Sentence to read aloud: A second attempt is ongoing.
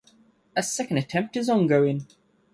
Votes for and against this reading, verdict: 2, 0, accepted